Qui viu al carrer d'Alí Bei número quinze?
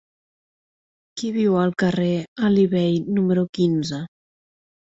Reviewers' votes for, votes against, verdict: 0, 2, rejected